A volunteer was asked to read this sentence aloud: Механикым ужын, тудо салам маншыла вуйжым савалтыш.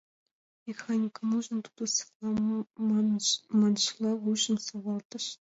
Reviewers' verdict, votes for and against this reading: rejected, 1, 2